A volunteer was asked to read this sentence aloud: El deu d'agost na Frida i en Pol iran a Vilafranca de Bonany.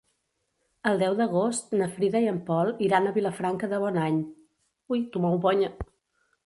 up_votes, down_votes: 1, 2